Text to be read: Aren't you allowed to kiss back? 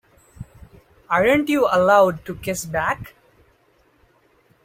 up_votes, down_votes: 4, 0